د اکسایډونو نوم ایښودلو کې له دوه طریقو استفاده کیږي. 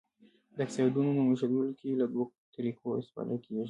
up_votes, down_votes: 1, 2